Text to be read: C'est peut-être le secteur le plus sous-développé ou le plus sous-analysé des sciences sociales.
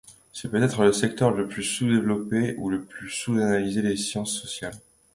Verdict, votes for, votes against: accepted, 2, 1